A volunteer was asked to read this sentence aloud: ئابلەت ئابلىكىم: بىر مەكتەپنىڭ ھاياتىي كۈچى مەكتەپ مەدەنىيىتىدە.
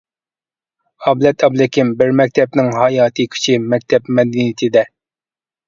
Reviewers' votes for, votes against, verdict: 1, 2, rejected